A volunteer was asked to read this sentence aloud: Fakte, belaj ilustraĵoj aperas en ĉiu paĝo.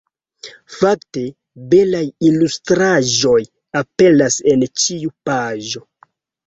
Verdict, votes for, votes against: rejected, 1, 2